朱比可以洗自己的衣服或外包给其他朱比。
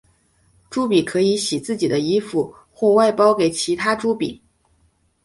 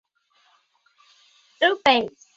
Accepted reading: first